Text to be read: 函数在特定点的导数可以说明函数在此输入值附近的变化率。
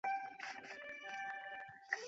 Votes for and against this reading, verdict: 0, 3, rejected